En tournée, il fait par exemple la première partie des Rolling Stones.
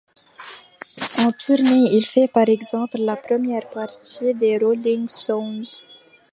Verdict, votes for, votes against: accepted, 2, 0